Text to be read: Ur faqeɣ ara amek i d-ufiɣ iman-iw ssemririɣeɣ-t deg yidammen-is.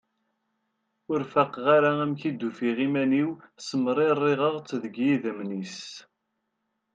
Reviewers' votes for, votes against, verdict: 1, 2, rejected